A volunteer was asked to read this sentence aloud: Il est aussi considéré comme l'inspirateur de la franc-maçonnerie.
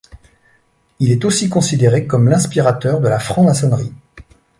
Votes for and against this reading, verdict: 2, 0, accepted